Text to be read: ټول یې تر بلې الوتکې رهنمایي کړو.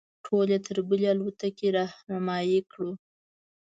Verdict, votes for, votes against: accepted, 2, 0